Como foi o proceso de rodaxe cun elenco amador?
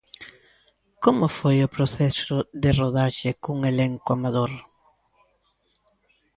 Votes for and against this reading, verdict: 2, 0, accepted